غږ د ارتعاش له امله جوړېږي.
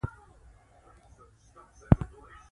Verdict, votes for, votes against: rejected, 0, 2